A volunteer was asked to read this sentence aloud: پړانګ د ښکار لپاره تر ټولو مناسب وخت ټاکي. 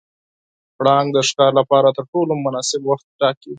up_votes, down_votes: 4, 0